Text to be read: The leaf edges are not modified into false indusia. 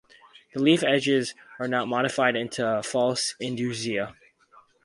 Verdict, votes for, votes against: accepted, 4, 0